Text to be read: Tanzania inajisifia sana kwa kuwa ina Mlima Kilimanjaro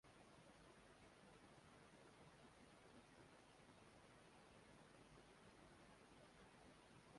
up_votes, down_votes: 0, 4